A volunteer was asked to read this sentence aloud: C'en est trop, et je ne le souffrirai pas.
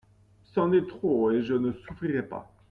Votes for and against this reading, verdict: 0, 2, rejected